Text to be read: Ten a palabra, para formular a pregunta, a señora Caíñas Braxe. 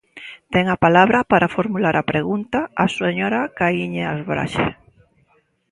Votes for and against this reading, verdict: 0, 2, rejected